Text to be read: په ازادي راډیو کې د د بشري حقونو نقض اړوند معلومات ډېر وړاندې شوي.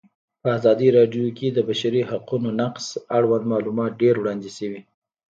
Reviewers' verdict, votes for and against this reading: rejected, 0, 2